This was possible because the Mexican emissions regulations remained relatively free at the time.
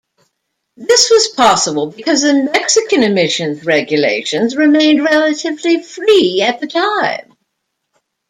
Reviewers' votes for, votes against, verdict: 1, 2, rejected